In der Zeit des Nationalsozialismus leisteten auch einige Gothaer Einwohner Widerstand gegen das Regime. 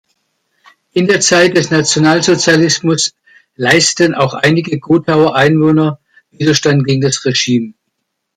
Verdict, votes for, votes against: rejected, 0, 2